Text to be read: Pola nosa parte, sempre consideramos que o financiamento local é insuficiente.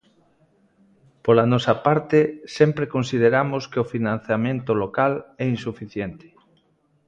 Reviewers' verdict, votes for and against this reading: accepted, 2, 0